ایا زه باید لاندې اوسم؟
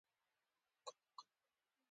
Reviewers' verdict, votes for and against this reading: accepted, 2, 0